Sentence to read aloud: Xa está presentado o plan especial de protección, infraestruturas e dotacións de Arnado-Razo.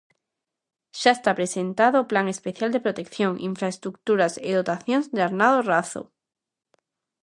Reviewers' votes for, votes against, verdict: 2, 0, accepted